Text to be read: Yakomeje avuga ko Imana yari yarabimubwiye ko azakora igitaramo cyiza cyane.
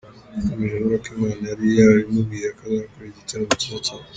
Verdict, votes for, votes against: accepted, 2, 0